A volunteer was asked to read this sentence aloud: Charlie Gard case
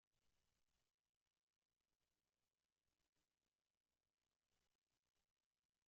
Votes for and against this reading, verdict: 0, 2, rejected